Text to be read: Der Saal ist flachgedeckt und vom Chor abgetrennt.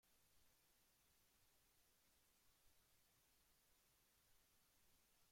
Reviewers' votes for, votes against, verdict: 0, 2, rejected